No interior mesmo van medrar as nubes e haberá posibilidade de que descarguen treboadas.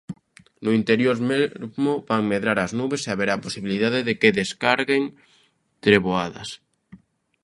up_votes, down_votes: 2, 1